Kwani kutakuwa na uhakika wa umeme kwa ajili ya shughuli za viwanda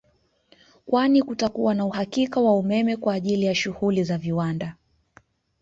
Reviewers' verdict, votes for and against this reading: accepted, 2, 0